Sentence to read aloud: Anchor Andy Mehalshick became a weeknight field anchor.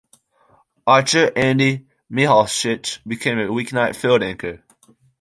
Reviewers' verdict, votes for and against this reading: accepted, 2, 1